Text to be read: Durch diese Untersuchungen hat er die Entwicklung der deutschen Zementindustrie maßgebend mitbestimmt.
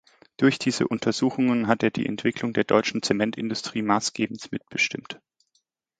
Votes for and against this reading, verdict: 2, 1, accepted